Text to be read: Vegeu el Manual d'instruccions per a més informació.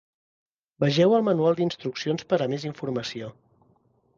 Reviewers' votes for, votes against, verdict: 3, 0, accepted